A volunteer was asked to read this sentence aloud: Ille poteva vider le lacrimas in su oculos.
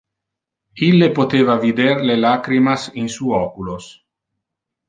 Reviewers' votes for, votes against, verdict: 2, 0, accepted